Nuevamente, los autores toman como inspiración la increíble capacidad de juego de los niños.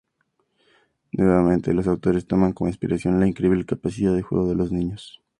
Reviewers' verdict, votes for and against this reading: accepted, 2, 0